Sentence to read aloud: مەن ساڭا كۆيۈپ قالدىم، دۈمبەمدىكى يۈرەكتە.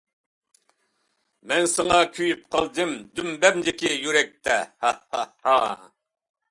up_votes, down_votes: 0, 2